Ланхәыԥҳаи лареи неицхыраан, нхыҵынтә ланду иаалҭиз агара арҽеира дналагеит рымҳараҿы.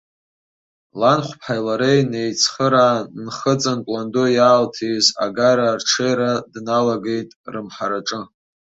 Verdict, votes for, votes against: accepted, 2, 1